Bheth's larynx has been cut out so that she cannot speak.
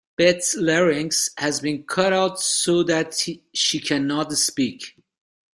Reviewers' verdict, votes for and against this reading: rejected, 0, 2